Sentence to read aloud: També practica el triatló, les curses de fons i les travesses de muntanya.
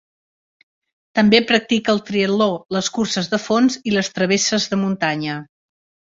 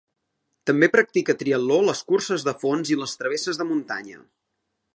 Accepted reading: first